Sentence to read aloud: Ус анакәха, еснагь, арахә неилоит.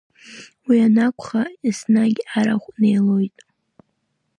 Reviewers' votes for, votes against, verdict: 1, 2, rejected